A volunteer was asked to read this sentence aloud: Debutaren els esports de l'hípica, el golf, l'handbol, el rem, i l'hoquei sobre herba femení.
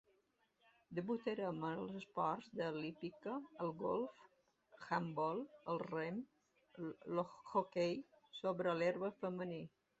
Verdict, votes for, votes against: rejected, 1, 2